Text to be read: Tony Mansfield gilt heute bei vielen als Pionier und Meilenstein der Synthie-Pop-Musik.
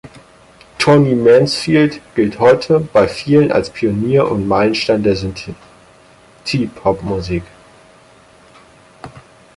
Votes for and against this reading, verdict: 0, 6, rejected